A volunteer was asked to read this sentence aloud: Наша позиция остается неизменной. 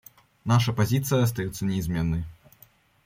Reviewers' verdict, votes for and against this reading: accepted, 2, 0